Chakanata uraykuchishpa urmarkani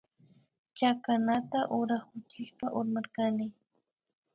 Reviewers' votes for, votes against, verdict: 1, 2, rejected